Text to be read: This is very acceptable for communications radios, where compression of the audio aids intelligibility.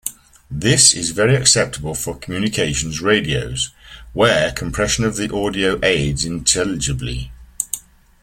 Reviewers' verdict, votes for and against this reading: rejected, 2, 3